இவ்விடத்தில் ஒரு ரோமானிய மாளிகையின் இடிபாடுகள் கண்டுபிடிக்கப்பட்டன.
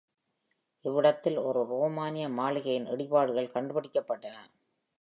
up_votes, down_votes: 2, 0